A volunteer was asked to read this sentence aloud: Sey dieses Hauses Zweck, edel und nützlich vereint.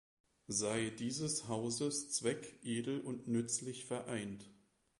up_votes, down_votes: 2, 0